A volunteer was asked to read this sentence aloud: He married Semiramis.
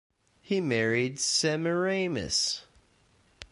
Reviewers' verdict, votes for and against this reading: rejected, 1, 2